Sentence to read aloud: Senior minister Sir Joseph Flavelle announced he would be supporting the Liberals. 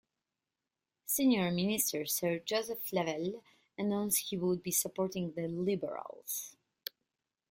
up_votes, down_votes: 2, 0